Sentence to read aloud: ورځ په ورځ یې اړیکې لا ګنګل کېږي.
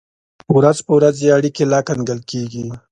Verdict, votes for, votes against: accepted, 2, 0